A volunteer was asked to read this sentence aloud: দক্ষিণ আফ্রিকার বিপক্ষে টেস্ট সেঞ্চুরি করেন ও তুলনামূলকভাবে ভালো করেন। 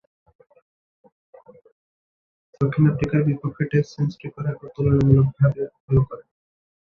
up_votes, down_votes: 0, 2